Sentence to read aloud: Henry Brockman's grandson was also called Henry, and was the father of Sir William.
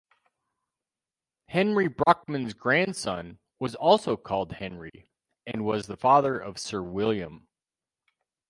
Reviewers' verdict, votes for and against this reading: accepted, 4, 0